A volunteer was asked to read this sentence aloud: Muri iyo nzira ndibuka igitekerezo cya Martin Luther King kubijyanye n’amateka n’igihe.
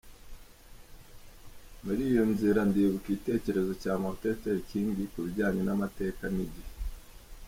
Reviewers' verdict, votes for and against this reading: rejected, 1, 2